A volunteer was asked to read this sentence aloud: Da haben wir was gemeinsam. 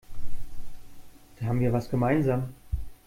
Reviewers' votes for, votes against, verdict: 2, 1, accepted